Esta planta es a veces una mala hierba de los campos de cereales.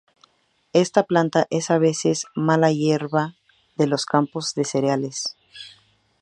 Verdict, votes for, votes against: rejected, 0, 2